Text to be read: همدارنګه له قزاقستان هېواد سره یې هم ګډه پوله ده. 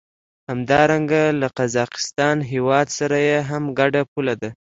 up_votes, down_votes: 2, 0